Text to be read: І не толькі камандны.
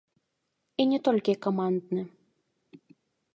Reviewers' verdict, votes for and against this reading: rejected, 1, 2